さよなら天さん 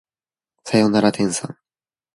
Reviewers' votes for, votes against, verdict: 2, 0, accepted